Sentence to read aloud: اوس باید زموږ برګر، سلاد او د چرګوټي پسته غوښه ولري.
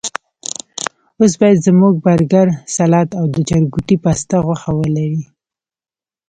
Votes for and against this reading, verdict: 2, 0, accepted